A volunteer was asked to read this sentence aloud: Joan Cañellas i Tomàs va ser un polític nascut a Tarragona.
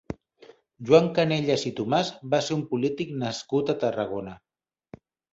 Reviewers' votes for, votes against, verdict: 0, 2, rejected